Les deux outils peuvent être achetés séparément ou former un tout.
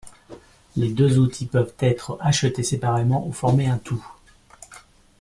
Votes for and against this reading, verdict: 0, 2, rejected